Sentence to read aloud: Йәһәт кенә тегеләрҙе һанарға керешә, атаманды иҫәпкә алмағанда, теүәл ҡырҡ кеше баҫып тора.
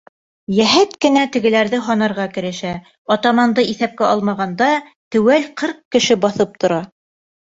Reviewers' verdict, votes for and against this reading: accepted, 2, 0